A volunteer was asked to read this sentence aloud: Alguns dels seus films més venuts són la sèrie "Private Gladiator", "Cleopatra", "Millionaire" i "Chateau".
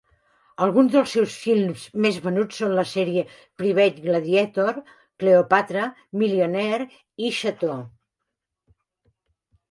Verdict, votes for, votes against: accepted, 2, 1